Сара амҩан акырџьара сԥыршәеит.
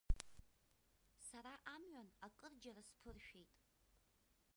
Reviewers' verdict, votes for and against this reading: rejected, 1, 2